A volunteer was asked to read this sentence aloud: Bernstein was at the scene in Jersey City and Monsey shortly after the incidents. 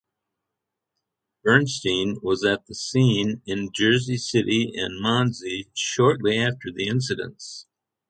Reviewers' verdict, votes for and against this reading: accepted, 6, 0